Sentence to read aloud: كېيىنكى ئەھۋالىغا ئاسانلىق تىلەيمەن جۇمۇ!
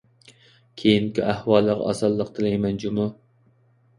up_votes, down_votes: 2, 0